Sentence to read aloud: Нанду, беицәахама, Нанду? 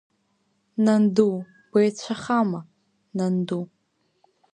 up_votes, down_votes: 2, 0